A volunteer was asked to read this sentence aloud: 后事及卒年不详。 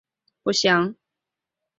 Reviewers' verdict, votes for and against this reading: rejected, 1, 2